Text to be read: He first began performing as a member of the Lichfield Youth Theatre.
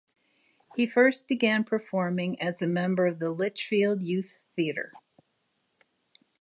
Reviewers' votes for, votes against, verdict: 2, 0, accepted